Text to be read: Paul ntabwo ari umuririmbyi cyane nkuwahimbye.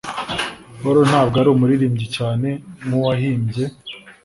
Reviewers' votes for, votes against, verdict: 2, 0, accepted